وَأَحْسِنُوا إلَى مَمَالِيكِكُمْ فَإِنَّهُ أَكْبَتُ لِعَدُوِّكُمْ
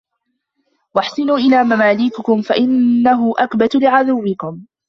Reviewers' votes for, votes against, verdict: 1, 2, rejected